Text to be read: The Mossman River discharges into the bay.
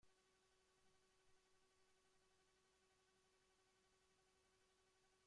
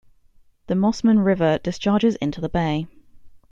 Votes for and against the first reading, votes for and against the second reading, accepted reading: 0, 2, 2, 0, second